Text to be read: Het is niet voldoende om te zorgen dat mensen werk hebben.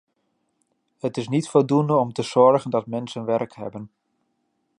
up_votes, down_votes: 2, 0